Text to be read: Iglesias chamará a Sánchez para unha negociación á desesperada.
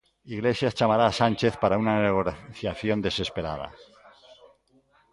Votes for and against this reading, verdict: 0, 2, rejected